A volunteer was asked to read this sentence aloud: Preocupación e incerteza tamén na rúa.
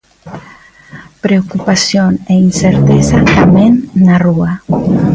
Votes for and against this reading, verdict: 1, 2, rejected